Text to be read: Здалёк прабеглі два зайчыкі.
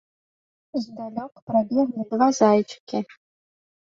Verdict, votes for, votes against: rejected, 0, 2